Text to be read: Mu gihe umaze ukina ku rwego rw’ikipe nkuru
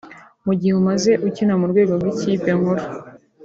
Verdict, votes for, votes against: accepted, 3, 0